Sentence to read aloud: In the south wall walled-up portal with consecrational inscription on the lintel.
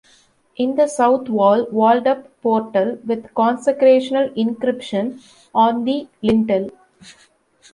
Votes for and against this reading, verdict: 1, 2, rejected